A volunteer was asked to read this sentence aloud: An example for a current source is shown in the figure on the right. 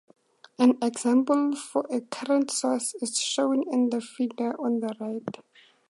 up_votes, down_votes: 4, 0